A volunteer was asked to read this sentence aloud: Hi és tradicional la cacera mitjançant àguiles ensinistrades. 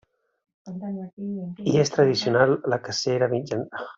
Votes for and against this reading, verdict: 0, 2, rejected